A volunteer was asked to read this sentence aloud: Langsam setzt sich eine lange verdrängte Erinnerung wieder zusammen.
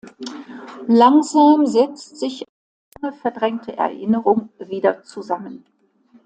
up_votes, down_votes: 0, 2